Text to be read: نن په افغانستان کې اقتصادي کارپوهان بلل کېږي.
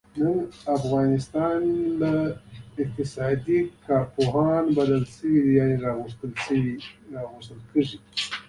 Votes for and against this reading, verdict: 1, 2, rejected